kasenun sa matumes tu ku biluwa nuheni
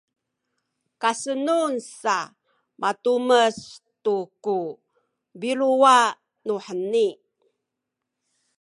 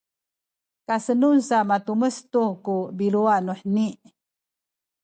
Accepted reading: second